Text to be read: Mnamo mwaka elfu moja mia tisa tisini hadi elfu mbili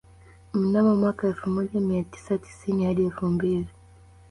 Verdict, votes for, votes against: rejected, 0, 2